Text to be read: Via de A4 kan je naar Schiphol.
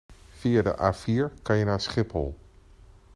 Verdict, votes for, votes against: rejected, 0, 2